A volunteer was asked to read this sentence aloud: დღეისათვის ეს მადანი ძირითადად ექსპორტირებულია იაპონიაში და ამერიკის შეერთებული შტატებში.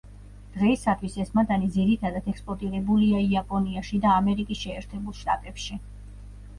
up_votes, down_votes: 1, 2